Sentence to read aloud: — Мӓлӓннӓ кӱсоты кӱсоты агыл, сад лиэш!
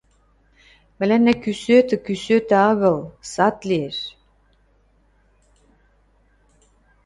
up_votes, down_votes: 1, 2